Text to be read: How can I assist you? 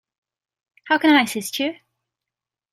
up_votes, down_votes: 2, 0